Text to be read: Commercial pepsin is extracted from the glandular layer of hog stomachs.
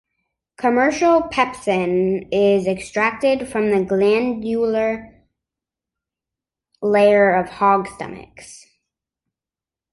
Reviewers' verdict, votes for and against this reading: accepted, 4, 2